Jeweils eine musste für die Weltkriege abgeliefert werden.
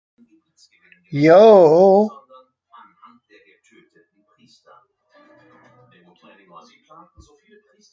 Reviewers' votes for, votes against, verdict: 0, 2, rejected